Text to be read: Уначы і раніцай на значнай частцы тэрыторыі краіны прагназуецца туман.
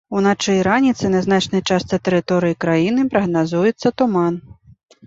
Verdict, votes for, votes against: accepted, 2, 0